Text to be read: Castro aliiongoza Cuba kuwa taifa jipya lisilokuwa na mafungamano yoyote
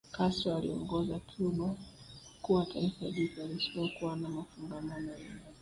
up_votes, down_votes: 2, 0